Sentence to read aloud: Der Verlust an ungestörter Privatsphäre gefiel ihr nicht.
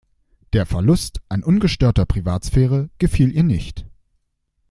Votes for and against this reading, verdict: 2, 0, accepted